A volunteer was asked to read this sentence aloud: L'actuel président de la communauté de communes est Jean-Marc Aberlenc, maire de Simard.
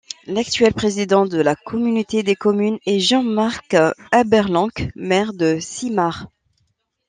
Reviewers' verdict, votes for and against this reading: rejected, 1, 2